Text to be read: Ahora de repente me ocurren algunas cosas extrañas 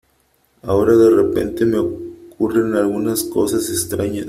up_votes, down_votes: 3, 0